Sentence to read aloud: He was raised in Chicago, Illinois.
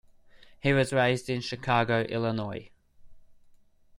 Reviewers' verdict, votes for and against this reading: accepted, 2, 0